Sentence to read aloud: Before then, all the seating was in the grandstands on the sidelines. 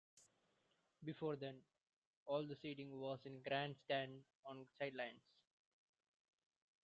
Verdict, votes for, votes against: rejected, 1, 2